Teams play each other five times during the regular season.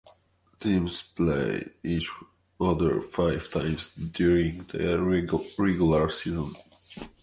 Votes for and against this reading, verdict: 0, 2, rejected